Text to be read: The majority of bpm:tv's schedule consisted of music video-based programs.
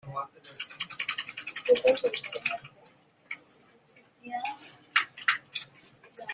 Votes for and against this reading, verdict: 0, 2, rejected